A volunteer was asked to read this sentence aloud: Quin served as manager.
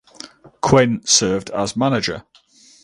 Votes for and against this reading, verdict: 2, 2, rejected